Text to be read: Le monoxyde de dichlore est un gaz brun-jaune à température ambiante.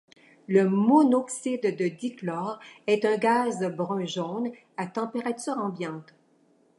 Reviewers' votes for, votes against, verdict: 2, 1, accepted